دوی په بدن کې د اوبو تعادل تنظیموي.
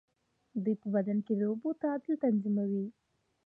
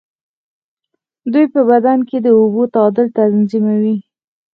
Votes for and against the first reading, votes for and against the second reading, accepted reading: 2, 0, 2, 4, first